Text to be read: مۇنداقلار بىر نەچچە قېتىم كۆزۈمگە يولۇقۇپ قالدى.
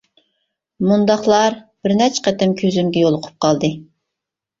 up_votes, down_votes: 2, 0